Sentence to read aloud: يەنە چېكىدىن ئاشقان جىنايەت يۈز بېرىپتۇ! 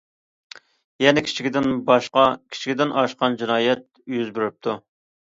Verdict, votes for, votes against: rejected, 0, 2